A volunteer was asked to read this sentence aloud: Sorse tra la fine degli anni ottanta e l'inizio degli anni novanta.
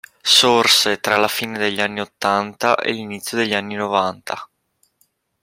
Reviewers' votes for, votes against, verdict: 2, 0, accepted